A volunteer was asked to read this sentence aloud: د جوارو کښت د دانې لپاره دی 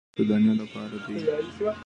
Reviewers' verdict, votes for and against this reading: accepted, 2, 0